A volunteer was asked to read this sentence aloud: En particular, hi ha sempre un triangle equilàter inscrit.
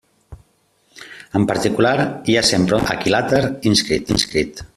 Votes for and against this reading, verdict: 0, 2, rejected